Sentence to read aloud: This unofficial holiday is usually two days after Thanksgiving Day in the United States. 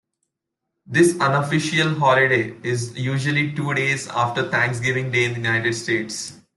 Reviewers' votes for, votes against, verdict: 2, 0, accepted